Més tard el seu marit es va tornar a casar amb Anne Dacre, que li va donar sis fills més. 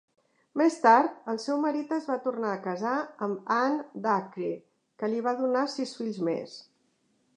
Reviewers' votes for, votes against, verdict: 2, 0, accepted